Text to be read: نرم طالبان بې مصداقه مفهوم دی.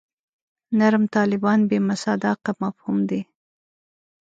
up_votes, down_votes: 1, 2